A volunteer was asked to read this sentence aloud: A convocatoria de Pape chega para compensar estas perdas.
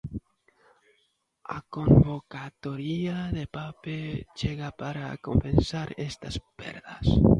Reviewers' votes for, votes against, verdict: 0, 2, rejected